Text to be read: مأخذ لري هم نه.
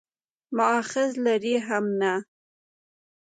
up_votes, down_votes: 2, 0